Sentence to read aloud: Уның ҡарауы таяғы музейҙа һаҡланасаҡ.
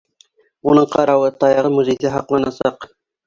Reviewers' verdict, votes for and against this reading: accepted, 2, 0